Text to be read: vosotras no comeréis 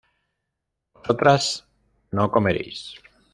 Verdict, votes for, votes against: rejected, 1, 2